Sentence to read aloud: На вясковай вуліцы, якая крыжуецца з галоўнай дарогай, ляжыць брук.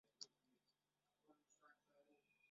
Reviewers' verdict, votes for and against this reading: rejected, 0, 2